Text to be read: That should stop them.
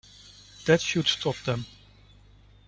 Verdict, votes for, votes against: accepted, 2, 0